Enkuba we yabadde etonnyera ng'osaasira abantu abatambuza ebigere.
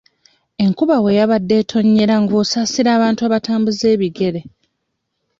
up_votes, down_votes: 2, 0